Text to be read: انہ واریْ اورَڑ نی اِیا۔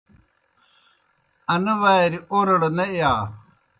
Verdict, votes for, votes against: rejected, 0, 2